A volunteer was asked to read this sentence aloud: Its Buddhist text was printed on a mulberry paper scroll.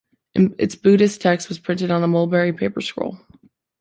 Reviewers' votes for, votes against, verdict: 0, 2, rejected